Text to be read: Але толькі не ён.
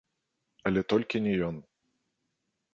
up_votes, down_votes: 0, 2